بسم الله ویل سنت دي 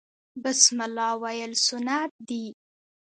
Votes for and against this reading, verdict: 2, 0, accepted